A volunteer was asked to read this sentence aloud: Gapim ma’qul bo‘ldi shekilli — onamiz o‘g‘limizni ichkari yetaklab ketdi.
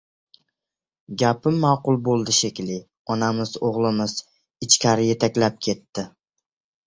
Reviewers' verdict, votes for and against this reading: rejected, 0, 2